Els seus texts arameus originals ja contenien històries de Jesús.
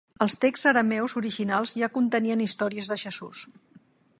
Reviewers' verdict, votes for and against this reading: accepted, 2, 0